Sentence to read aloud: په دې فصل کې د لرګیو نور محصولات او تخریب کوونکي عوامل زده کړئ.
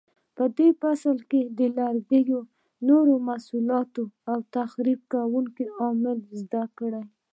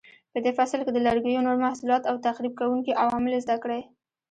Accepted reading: second